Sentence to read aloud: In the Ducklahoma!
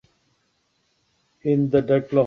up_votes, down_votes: 0, 2